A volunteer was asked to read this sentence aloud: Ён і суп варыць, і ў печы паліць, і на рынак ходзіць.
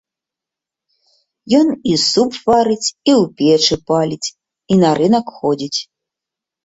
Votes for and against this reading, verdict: 2, 0, accepted